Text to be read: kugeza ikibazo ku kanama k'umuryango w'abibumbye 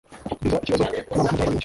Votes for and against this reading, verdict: 1, 2, rejected